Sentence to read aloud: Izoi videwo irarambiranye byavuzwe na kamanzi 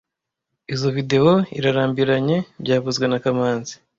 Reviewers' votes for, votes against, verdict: 0, 2, rejected